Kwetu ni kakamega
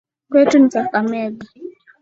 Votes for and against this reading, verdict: 0, 2, rejected